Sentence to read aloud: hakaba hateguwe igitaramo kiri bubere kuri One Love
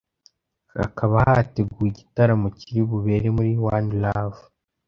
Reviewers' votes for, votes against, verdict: 1, 2, rejected